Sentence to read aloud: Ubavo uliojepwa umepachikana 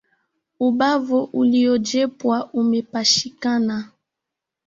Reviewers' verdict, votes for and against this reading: rejected, 0, 2